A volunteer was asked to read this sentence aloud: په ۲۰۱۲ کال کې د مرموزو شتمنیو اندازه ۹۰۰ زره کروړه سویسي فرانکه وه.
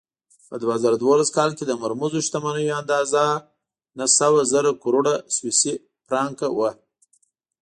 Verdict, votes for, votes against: rejected, 0, 2